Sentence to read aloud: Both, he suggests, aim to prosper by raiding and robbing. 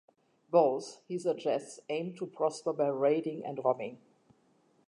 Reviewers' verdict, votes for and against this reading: accepted, 2, 0